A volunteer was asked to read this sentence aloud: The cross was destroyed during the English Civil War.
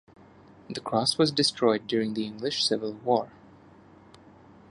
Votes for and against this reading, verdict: 1, 2, rejected